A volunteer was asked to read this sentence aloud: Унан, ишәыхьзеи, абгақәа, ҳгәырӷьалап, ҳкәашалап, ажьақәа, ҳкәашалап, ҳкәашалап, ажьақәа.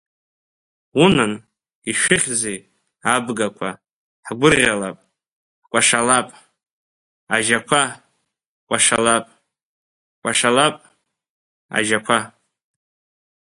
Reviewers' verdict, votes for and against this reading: rejected, 1, 2